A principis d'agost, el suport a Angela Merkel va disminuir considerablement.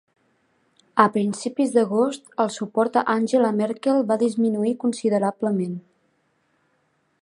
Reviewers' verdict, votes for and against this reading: accepted, 2, 0